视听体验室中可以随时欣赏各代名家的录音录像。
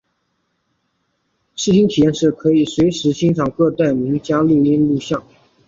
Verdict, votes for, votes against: accepted, 3, 1